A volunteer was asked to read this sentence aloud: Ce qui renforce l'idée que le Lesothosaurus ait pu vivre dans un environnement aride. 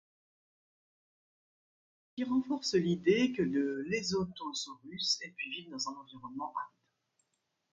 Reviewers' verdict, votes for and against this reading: rejected, 1, 2